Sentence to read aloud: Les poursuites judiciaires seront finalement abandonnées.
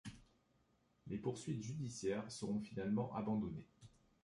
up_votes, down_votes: 1, 2